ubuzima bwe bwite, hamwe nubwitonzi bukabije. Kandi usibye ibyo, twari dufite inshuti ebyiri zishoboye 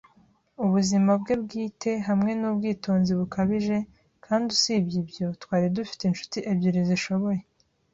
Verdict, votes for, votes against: accepted, 2, 0